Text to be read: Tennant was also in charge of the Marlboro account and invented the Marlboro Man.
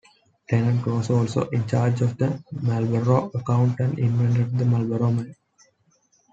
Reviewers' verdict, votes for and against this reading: accepted, 2, 0